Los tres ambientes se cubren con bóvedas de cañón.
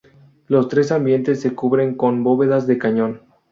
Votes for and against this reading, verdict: 4, 0, accepted